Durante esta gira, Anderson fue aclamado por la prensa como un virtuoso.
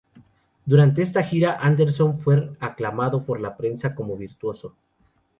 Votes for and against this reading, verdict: 2, 2, rejected